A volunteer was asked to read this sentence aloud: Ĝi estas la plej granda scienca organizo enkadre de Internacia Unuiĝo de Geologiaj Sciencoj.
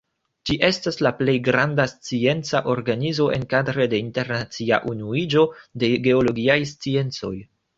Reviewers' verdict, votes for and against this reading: accepted, 2, 1